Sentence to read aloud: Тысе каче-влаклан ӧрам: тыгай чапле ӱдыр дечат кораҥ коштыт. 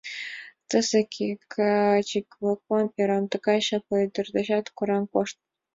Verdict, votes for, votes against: accepted, 2, 1